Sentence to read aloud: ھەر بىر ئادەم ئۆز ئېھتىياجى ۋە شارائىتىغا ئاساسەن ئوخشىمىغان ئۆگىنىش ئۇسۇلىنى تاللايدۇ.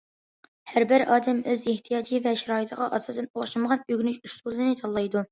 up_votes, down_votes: 2, 0